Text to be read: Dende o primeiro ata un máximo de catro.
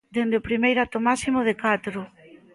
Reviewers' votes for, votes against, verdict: 1, 2, rejected